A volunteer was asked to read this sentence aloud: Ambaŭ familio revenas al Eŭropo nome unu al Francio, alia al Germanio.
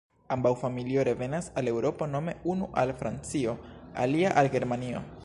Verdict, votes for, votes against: rejected, 0, 2